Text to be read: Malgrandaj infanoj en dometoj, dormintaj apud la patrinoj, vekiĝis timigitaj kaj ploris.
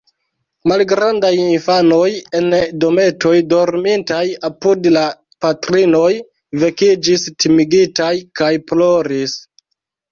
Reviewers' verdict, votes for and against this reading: rejected, 0, 2